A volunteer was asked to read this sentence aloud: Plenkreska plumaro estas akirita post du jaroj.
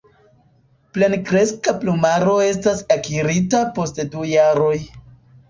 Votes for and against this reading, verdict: 2, 1, accepted